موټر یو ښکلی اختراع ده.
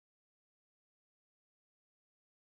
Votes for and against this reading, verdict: 2, 1, accepted